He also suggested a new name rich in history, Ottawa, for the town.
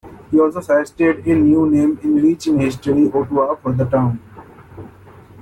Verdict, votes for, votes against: rejected, 0, 2